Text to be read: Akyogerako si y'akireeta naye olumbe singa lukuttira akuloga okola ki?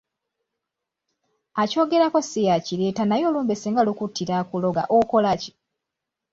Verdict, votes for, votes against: accepted, 2, 0